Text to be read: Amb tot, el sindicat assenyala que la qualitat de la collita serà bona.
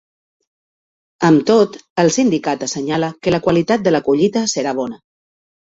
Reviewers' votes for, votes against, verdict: 3, 0, accepted